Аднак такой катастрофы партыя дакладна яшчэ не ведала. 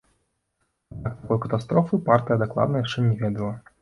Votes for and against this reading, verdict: 0, 2, rejected